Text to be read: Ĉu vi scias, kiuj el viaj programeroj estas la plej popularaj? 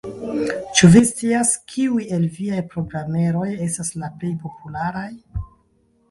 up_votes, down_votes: 2, 1